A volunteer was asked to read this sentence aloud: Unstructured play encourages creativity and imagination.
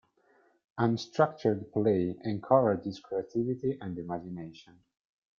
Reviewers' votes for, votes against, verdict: 2, 0, accepted